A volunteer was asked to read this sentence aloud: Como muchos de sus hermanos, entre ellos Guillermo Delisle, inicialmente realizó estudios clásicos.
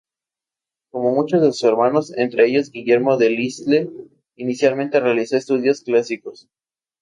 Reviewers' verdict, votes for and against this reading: accepted, 4, 2